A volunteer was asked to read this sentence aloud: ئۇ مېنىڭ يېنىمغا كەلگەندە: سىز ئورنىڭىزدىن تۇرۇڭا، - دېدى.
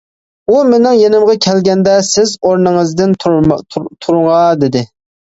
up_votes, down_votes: 1, 2